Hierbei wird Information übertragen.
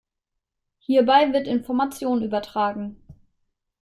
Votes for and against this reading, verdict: 2, 0, accepted